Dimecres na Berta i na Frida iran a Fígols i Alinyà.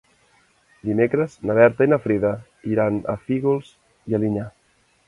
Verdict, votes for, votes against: rejected, 1, 2